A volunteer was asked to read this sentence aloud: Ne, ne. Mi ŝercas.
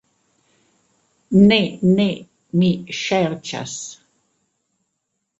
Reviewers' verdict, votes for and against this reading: rejected, 1, 2